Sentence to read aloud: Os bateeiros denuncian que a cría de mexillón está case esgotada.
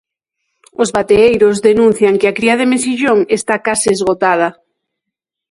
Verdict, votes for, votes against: accepted, 3, 0